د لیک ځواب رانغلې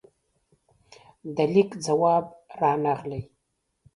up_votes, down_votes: 2, 0